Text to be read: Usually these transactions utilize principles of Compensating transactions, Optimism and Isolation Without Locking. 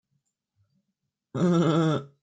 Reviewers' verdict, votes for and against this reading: rejected, 0, 2